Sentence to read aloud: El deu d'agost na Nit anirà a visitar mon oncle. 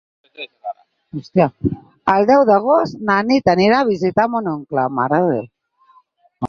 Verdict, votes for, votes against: rejected, 0, 4